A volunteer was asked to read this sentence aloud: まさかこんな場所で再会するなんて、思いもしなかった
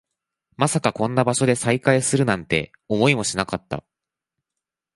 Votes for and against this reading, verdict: 2, 0, accepted